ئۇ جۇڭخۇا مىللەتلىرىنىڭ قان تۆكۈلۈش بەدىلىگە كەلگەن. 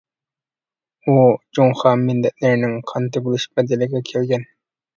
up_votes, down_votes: 1, 2